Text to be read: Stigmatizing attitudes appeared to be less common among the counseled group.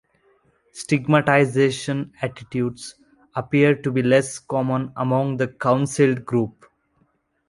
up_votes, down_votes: 1, 2